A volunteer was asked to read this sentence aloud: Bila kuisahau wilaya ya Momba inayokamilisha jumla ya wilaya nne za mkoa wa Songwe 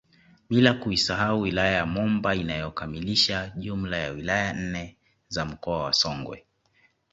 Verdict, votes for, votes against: accepted, 2, 1